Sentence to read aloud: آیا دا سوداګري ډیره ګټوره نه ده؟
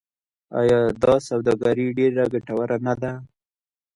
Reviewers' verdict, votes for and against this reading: rejected, 1, 2